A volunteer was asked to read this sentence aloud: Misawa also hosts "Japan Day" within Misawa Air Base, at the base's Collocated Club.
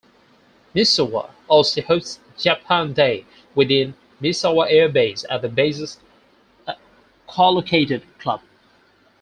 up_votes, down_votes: 0, 4